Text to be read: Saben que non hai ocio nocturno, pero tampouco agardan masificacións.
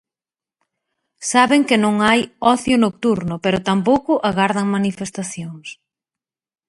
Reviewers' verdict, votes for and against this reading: rejected, 0, 3